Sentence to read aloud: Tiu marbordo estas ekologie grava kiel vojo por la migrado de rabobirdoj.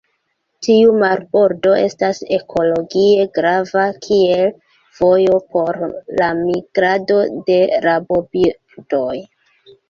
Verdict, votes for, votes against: rejected, 1, 2